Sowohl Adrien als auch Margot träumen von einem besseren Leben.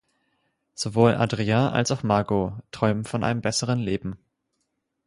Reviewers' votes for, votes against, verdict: 2, 6, rejected